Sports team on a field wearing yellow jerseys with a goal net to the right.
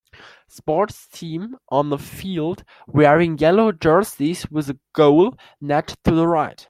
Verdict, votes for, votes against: accepted, 2, 0